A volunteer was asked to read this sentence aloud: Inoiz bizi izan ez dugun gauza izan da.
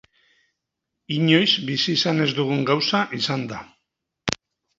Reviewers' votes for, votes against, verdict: 2, 0, accepted